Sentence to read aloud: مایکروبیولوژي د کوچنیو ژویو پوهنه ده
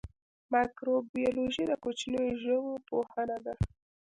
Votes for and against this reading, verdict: 2, 0, accepted